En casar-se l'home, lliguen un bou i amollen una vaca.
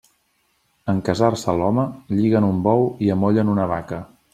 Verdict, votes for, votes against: accepted, 3, 0